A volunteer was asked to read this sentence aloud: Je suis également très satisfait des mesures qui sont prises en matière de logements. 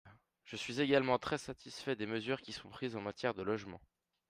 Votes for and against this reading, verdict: 4, 0, accepted